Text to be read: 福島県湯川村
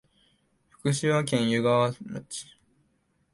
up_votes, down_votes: 5, 6